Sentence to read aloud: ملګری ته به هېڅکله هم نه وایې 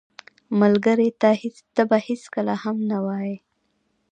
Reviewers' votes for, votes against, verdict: 0, 2, rejected